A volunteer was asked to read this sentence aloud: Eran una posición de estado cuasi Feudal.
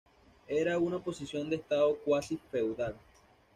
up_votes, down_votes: 1, 2